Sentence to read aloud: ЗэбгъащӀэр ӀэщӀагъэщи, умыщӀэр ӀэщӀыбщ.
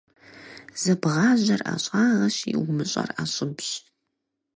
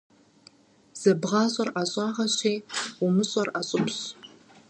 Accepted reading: second